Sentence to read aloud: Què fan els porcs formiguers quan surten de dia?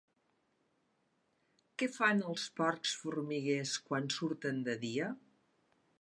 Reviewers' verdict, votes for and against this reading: accepted, 2, 0